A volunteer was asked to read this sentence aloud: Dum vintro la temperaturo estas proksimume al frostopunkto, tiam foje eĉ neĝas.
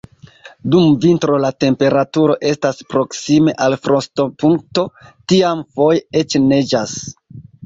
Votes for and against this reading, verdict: 0, 2, rejected